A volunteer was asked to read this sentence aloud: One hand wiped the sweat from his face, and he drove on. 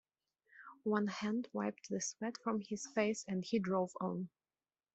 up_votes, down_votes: 2, 0